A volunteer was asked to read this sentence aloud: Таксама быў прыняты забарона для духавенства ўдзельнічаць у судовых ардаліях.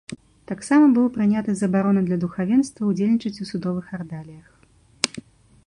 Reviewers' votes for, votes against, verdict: 0, 2, rejected